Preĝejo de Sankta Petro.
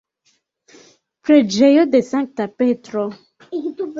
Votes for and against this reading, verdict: 2, 1, accepted